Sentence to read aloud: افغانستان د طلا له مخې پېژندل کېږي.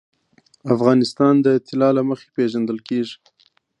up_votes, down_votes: 2, 1